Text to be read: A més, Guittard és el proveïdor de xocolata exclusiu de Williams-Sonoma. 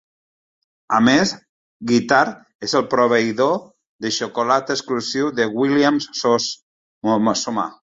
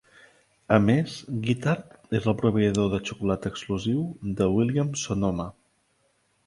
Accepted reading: second